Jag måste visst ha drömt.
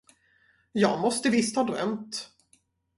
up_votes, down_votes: 4, 0